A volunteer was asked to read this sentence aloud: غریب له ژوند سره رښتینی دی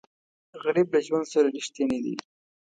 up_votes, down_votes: 2, 0